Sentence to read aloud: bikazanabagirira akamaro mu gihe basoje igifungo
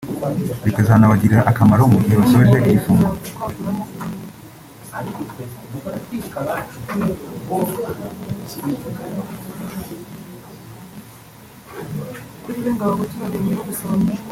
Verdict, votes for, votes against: accepted, 2, 1